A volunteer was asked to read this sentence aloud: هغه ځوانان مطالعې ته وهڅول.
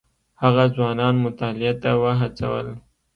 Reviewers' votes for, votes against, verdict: 2, 0, accepted